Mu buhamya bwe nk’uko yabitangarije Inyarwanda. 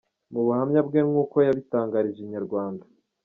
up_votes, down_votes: 2, 0